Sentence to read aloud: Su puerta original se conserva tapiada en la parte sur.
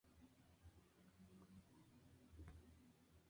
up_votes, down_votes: 0, 4